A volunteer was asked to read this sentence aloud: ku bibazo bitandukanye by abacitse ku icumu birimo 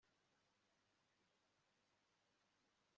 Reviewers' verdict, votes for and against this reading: rejected, 0, 2